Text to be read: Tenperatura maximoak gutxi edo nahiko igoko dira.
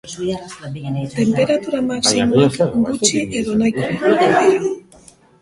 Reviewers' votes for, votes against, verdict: 0, 2, rejected